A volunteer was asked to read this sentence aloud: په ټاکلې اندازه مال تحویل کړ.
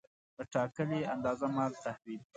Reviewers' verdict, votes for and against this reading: accepted, 2, 0